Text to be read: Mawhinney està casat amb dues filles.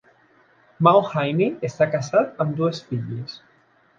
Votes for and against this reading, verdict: 0, 2, rejected